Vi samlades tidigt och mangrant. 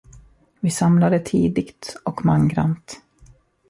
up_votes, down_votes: 1, 2